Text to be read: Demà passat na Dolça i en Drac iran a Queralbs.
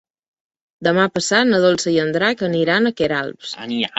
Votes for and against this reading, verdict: 0, 2, rejected